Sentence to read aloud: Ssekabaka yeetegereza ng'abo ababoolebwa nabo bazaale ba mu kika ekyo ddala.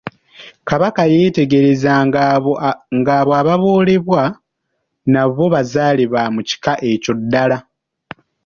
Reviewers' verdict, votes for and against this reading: accepted, 3, 2